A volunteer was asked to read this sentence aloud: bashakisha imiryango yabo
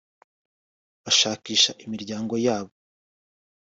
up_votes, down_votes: 2, 0